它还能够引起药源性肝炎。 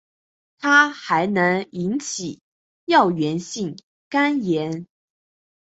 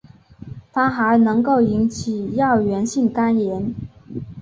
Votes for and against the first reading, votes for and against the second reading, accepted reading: 0, 2, 3, 0, second